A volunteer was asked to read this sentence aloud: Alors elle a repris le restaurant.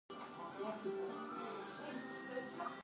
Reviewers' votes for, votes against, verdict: 0, 2, rejected